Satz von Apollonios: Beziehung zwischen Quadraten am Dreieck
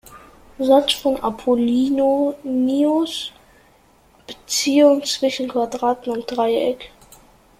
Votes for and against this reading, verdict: 0, 2, rejected